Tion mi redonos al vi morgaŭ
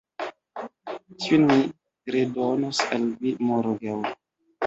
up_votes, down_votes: 2, 0